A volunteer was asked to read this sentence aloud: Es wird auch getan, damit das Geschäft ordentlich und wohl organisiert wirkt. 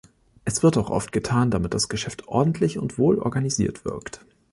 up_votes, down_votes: 0, 2